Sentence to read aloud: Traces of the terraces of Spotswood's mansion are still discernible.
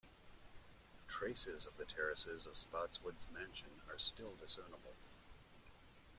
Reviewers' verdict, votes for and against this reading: rejected, 1, 2